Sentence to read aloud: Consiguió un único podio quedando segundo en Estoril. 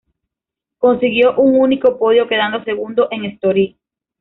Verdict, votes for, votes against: accepted, 2, 0